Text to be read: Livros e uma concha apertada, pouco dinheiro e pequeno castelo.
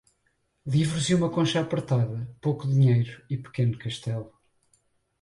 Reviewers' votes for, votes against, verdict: 0, 4, rejected